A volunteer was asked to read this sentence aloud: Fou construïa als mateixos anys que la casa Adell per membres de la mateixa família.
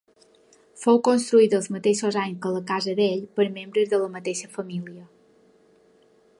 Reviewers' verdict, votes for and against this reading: rejected, 0, 2